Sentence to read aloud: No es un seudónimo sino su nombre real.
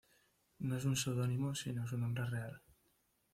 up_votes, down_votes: 2, 1